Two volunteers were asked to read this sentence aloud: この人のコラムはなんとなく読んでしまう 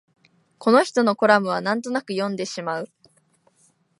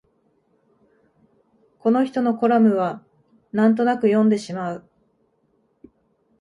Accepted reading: first